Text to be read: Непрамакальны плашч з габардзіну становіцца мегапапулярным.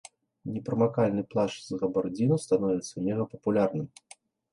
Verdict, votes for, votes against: accepted, 2, 0